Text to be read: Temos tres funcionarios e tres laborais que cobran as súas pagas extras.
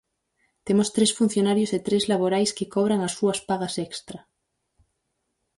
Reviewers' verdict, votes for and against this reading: rejected, 2, 2